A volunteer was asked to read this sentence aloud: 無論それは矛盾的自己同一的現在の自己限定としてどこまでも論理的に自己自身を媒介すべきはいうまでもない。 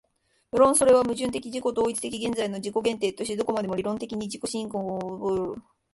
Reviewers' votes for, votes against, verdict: 0, 2, rejected